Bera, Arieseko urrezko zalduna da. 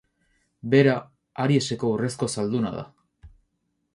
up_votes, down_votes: 4, 0